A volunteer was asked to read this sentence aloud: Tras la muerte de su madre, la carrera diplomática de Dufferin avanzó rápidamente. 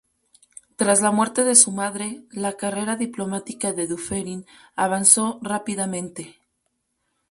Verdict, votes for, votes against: rejected, 2, 2